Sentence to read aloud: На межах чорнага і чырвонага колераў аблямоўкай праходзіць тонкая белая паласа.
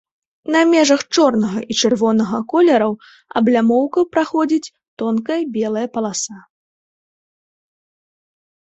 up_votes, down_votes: 1, 2